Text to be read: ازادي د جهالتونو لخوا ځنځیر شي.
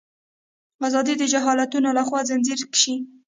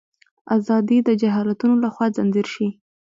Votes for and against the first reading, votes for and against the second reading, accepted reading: 0, 2, 2, 0, second